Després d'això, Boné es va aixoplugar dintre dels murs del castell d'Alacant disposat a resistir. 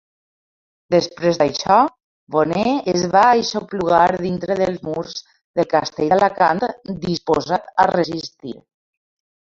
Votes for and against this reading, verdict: 1, 2, rejected